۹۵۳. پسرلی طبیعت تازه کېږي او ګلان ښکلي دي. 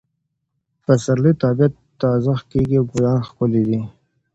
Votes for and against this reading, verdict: 0, 2, rejected